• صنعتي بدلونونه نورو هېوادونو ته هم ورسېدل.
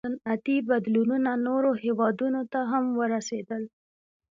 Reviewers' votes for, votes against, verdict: 2, 0, accepted